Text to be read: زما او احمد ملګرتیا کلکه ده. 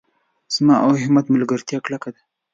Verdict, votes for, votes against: accepted, 2, 0